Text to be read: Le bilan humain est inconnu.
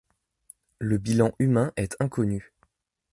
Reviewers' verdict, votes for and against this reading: accepted, 2, 0